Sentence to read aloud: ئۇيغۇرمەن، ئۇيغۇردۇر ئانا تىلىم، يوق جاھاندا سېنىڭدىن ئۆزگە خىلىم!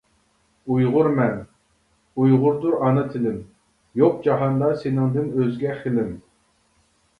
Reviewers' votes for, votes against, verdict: 2, 0, accepted